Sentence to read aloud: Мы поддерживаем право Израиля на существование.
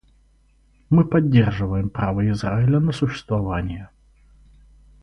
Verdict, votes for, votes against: accepted, 4, 0